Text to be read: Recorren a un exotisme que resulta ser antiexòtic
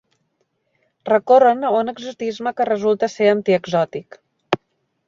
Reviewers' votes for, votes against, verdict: 2, 0, accepted